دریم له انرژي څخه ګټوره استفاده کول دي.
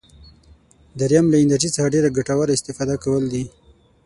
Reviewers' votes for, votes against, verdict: 0, 6, rejected